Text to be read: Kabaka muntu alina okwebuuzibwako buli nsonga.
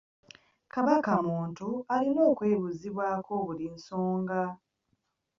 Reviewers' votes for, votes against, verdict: 3, 0, accepted